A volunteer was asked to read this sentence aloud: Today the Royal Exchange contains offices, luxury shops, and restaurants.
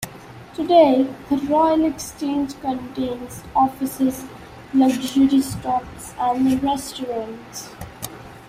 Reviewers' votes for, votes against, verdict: 2, 0, accepted